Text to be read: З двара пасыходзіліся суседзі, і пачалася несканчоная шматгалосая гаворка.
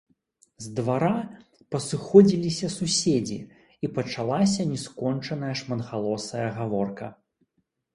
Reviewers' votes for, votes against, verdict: 1, 3, rejected